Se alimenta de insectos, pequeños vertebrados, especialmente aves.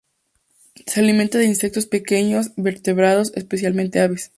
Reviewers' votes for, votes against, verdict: 2, 0, accepted